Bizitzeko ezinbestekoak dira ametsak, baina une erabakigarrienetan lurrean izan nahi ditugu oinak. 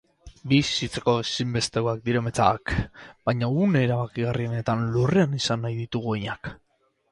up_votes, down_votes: 2, 6